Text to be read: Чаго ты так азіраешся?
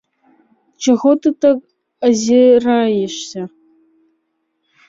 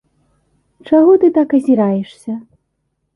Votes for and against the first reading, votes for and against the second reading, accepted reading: 0, 2, 3, 0, second